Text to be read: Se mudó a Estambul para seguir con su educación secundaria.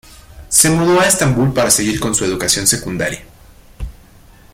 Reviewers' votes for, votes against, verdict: 2, 0, accepted